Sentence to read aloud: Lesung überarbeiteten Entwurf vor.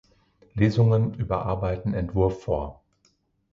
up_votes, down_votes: 2, 1